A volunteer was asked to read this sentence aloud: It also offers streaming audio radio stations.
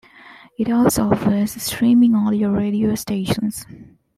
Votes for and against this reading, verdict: 2, 0, accepted